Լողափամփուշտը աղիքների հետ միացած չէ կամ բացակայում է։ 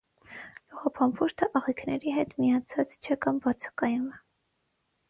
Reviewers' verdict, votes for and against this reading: accepted, 6, 0